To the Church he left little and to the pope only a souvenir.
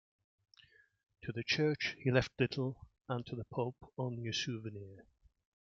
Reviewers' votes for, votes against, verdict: 2, 1, accepted